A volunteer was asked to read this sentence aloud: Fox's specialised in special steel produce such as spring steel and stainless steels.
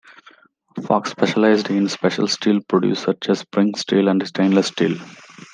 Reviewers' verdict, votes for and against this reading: accepted, 2, 0